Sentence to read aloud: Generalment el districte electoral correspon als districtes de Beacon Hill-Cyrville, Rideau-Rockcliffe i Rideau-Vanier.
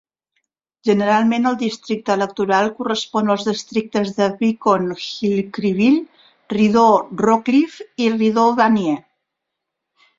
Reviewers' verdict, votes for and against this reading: rejected, 2, 3